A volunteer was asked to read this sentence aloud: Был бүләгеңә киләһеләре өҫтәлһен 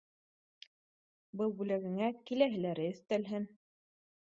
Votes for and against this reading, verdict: 2, 0, accepted